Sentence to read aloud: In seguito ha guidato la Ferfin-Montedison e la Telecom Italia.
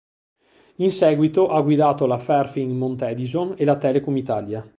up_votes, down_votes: 2, 0